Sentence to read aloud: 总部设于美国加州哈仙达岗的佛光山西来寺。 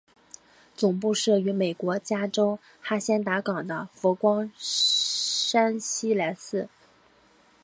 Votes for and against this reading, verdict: 3, 0, accepted